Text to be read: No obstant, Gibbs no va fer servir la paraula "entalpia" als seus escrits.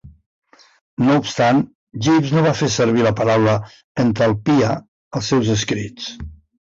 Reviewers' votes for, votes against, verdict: 2, 1, accepted